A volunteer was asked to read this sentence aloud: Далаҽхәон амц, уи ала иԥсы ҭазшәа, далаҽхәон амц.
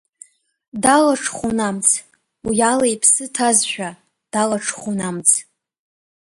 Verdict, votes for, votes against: accepted, 2, 0